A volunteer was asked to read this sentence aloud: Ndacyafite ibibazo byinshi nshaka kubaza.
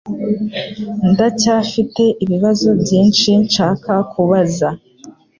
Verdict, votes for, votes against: accepted, 3, 0